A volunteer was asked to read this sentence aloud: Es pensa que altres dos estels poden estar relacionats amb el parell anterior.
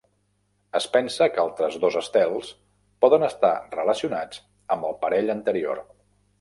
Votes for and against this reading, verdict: 3, 0, accepted